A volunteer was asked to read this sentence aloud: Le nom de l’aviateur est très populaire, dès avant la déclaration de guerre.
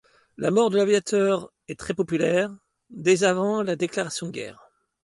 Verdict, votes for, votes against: rejected, 1, 2